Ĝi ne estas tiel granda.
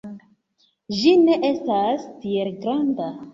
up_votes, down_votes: 2, 1